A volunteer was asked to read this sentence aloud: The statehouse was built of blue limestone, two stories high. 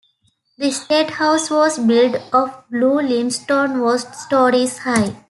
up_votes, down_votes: 0, 2